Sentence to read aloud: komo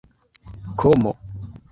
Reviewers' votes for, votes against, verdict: 1, 2, rejected